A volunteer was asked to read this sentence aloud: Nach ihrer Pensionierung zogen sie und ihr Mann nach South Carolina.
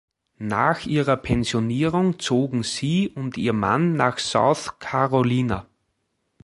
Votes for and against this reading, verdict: 1, 3, rejected